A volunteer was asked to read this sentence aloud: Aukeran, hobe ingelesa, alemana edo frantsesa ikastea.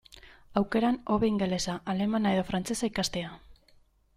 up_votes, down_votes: 2, 0